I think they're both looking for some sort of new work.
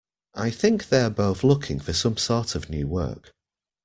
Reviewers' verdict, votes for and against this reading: accepted, 2, 0